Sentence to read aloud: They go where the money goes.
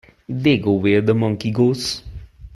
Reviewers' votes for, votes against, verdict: 1, 2, rejected